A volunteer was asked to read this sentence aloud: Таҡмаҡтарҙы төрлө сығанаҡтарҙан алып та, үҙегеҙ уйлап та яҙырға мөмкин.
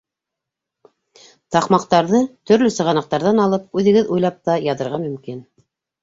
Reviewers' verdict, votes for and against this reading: accepted, 2, 1